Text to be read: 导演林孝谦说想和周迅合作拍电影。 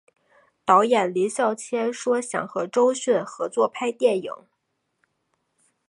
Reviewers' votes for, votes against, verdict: 3, 0, accepted